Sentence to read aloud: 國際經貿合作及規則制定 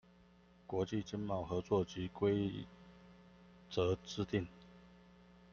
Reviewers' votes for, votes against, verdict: 2, 0, accepted